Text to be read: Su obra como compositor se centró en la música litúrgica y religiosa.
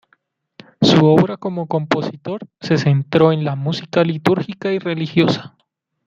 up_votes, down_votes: 2, 0